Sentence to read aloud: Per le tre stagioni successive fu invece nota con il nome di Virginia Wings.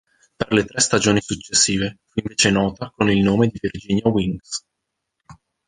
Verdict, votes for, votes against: rejected, 0, 2